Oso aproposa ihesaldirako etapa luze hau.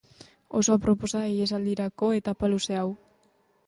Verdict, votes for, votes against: accepted, 2, 0